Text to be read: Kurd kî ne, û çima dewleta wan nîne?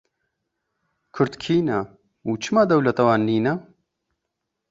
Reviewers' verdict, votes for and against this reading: accepted, 2, 0